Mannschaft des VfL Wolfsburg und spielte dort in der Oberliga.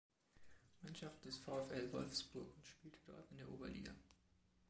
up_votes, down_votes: 2, 1